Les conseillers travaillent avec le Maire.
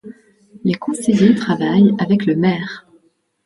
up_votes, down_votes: 0, 2